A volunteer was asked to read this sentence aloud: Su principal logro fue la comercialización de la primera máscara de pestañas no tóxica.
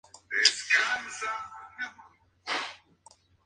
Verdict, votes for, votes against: rejected, 0, 2